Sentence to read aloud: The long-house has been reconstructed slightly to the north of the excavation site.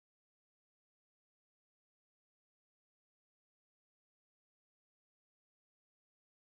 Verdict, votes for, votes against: rejected, 0, 2